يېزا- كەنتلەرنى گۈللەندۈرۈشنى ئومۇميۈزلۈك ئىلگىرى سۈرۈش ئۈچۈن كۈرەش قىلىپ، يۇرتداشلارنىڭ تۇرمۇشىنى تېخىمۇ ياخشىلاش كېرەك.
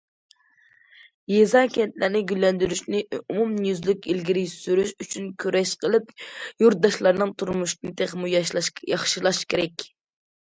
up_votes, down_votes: 0, 2